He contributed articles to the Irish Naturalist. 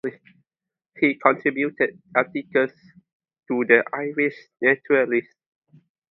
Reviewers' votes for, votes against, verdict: 0, 2, rejected